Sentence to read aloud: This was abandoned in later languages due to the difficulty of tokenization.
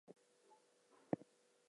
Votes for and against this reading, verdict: 0, 4, rejected